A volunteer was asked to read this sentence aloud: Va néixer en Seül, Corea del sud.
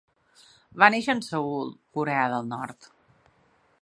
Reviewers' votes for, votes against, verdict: 1, 2, rejected